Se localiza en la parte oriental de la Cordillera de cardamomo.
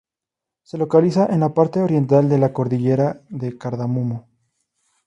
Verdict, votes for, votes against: accepted, 2, 0